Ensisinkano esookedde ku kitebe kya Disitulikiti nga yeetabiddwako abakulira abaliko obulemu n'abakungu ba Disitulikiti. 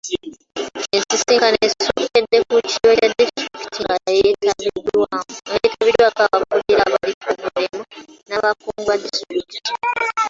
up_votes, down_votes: 1, 2